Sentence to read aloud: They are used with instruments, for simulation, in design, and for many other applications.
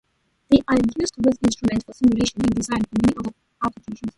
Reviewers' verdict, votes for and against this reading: rejected, 0, 2